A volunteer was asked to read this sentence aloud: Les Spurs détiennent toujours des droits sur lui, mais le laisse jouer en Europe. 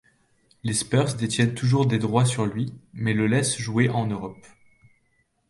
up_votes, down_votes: 2, 0